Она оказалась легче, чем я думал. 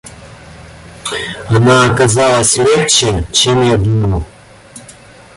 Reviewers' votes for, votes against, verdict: 1, 2, rejected